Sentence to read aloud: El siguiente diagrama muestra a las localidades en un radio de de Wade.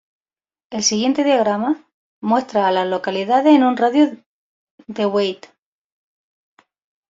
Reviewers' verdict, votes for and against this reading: rejected, 0, 2